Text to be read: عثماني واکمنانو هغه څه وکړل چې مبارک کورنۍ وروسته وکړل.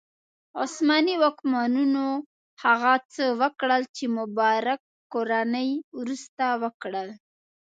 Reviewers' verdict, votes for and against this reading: rejected, 2, 3